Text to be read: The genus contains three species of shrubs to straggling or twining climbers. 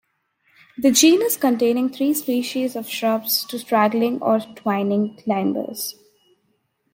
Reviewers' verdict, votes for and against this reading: rejected, 0, 2